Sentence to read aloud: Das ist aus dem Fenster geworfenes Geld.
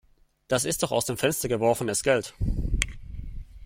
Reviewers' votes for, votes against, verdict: 1, 2, rejected